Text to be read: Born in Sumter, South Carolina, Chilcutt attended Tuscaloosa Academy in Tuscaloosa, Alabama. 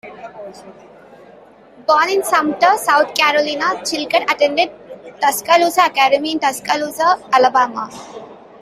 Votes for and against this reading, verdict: 2, 0, accepted